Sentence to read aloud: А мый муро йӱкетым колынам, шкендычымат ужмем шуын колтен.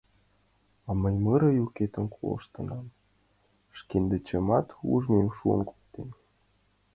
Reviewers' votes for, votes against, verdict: 0, 2, rejected